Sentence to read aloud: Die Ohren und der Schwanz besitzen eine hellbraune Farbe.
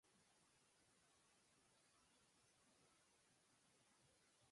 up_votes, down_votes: 0, 4